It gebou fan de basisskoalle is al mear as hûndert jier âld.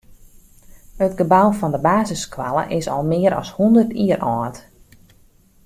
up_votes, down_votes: 2, 0